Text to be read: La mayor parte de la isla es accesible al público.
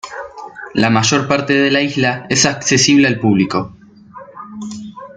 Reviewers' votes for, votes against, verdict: 2, 0, accepted